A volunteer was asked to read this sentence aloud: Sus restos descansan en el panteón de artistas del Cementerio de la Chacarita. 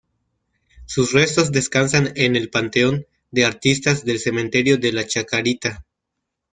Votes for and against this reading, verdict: 3, 0, accepted